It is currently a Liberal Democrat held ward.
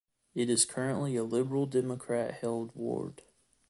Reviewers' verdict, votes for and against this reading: accepted, 2, 0